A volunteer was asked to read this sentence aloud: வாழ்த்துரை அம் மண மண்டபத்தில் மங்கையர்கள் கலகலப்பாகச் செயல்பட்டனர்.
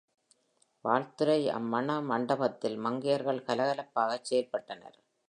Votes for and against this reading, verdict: 4, 0, accepted